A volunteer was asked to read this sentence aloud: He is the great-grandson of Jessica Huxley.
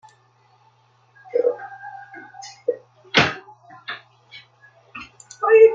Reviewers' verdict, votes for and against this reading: rejected, 0, 2